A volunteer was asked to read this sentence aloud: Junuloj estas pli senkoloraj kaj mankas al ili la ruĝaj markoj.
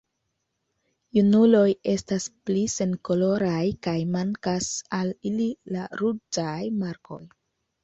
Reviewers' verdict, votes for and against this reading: rejected, 1, 2